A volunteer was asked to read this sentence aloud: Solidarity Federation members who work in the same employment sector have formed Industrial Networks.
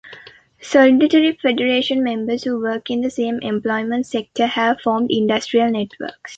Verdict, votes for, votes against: rejected, 1, 2